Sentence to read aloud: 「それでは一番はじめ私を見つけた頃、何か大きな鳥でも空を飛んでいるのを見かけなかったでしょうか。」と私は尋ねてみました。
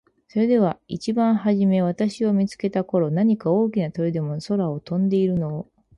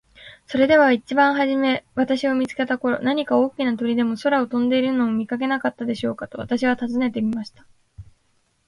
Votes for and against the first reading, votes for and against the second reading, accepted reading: 0, 6, 2, 0, second